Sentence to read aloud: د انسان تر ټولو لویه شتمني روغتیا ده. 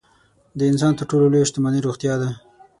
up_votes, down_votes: 6, 0